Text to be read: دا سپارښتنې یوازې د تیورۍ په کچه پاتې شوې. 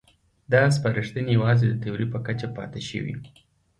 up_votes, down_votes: 2, 0